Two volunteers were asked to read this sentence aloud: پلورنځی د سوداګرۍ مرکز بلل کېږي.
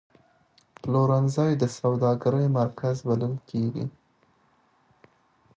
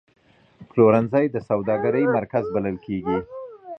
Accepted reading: first